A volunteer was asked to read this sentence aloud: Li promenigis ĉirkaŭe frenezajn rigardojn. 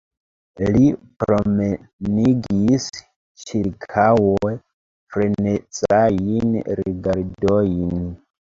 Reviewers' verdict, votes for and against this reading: rejected, 0, 2